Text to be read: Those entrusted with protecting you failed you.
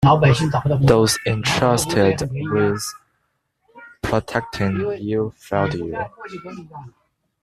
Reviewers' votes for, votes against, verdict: 0, 2, rejected